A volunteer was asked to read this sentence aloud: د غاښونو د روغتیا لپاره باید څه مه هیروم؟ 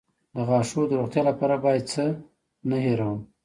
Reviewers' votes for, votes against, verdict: 0, 2, rejected